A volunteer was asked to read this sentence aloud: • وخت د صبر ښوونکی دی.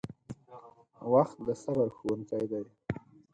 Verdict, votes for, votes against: accepted, 4, 2